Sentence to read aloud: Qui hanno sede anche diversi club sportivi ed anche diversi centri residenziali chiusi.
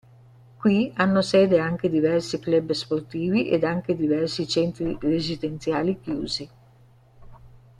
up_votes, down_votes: 2, 1